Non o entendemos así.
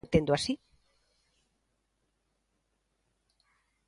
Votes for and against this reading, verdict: 0, 3, rejected